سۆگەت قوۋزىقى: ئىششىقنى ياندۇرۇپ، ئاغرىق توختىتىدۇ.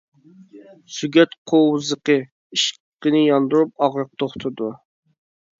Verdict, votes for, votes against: rejected, 1, 2